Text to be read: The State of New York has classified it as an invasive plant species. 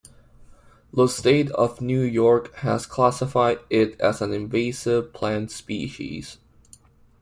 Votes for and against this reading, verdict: 2, 0, accepted